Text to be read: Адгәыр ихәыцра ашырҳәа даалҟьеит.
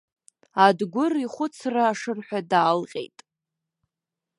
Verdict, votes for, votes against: rejected, 0, 2